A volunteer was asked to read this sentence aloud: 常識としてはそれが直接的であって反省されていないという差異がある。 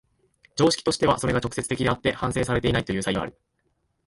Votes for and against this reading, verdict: 3, 0, accepted